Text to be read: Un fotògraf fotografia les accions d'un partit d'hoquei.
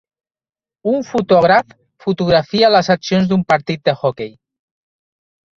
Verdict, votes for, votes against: rejected, 0, 2